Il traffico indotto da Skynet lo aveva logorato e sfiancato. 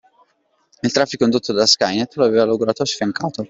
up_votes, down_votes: 1, 2